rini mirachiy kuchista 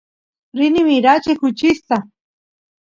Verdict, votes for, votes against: accepted, 2, 0